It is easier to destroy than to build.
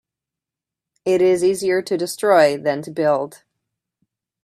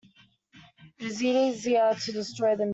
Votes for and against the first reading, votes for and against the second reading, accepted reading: 2, 1, 0, 2, first